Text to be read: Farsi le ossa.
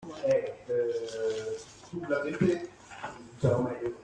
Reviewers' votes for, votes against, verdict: 0, 2, rejected